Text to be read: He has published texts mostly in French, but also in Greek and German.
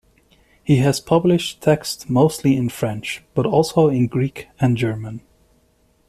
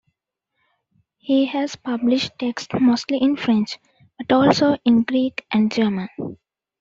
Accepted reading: first